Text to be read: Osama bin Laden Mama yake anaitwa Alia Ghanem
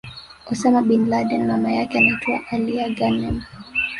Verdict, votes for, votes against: accepted, 2, 1